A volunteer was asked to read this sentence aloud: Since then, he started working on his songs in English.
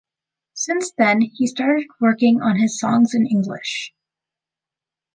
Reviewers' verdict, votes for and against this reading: accepted, 2, 0